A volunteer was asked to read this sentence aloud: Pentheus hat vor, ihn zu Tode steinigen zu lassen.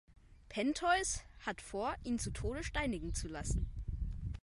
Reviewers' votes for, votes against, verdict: 2, 1, accepted